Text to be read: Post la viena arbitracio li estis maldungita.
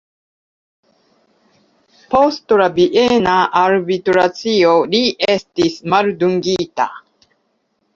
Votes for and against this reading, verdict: 2, 1, accepted